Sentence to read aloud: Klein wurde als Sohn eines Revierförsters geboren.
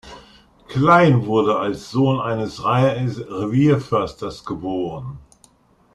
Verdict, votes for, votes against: rejected, 0, 2